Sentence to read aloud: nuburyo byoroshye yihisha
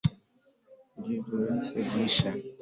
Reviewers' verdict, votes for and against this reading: rejected, 1, 2